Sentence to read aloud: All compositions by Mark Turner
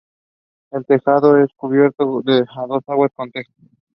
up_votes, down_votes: 0, 2